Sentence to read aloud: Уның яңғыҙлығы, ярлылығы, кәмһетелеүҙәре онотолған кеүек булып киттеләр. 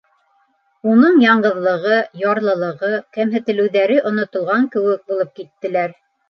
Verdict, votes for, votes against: accepted, 2, 0